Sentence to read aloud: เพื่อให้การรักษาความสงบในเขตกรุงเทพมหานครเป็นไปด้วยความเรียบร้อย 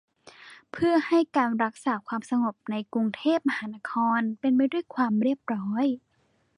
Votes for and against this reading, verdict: 0, 2, rejected